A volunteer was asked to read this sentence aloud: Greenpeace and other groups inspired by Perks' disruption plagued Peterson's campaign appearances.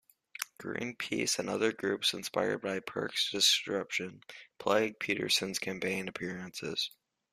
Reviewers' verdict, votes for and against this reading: rejected, 0, 2